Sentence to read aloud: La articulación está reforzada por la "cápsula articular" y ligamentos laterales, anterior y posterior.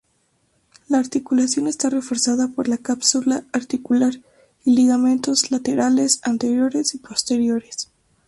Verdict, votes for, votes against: rejected, 0, 2